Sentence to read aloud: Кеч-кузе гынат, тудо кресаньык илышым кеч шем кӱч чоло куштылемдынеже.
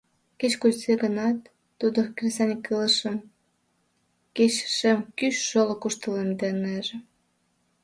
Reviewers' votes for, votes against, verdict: 0, 2, rejected